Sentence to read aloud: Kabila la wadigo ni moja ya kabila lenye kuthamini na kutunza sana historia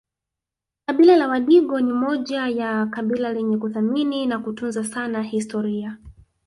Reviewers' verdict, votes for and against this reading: rejected, 2, 3